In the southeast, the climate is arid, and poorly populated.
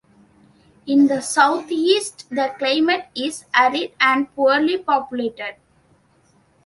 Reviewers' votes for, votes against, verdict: 2, 0, accepted